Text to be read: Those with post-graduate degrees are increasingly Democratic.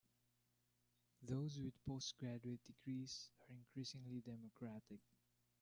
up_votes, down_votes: 1, 2